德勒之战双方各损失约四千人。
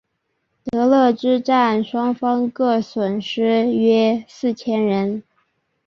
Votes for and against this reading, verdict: 2, 0, accepted